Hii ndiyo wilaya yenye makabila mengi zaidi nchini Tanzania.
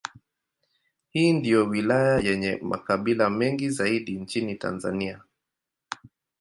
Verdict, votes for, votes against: accepted, 2, 0